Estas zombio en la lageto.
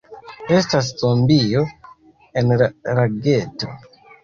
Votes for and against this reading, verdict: 2, 0, accepted